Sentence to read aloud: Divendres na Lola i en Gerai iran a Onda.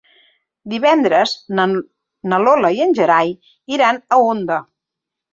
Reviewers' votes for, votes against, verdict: 0, 2, rejected